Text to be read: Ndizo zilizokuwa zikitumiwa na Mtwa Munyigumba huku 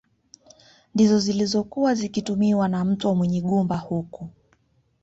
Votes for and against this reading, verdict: 2, 0, accepted